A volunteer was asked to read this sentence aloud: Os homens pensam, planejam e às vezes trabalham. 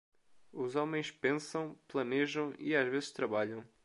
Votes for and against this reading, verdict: 2, 0, accepted